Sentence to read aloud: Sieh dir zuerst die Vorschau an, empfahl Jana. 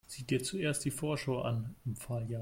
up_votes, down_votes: 0, 2